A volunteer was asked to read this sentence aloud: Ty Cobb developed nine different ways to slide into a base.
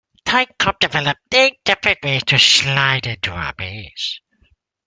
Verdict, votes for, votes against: rejected, 0, 2